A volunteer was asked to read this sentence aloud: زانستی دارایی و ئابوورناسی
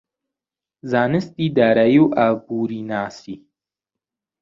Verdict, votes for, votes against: rejected, 1, 2